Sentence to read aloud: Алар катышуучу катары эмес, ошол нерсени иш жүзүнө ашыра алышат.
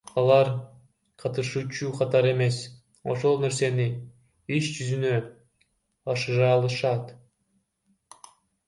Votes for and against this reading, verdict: 1, 2, rejected